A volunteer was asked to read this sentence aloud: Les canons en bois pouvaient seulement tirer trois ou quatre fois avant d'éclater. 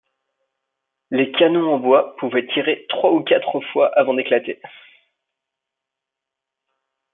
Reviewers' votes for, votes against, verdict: 1, 2, rejected